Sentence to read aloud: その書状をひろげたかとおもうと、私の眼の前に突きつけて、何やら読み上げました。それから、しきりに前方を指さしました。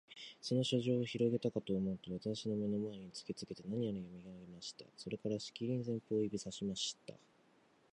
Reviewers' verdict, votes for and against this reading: accepted, 4, 0